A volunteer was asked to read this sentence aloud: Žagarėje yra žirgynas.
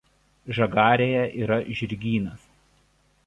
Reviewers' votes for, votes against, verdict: 2, 0, accepted